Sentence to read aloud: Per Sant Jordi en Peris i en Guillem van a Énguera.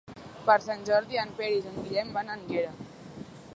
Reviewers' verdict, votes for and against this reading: rejected, 1, 2